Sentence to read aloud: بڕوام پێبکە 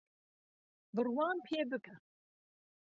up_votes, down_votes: 2, 1